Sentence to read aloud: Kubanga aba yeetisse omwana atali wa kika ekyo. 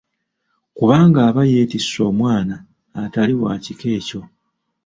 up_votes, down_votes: 2, 1